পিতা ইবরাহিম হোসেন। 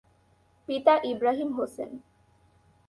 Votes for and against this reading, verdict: 2, 0, accepted